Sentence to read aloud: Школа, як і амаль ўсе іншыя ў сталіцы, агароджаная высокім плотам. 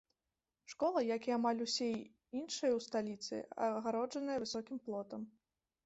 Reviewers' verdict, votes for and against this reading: rejected, 1, 2